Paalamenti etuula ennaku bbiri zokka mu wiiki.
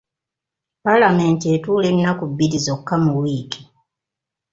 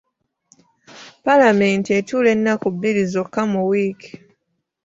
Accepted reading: first